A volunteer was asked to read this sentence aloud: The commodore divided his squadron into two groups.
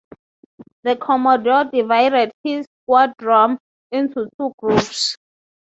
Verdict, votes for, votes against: rejected, 3, 3